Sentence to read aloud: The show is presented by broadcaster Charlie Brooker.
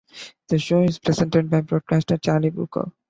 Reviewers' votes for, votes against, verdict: 2, 0, accepted